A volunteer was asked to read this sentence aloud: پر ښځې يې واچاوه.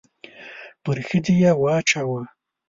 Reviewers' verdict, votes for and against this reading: accepted, 2, 0